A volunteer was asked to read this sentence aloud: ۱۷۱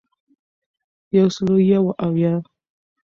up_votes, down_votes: 0, 2